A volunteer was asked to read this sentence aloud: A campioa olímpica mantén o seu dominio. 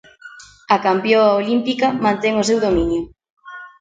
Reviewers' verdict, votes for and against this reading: rejected, 1, 2